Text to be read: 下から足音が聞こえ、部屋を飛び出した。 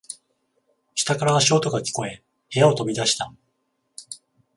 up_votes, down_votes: 14, 0